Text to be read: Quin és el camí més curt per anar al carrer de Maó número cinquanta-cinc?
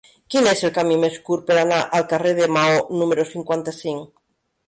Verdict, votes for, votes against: accepted, 2, 0